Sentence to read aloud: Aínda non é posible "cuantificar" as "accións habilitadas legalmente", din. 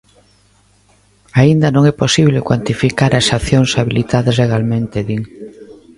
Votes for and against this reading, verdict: 2, 0, accepted